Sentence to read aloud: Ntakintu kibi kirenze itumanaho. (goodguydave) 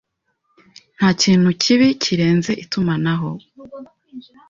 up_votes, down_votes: 0, 2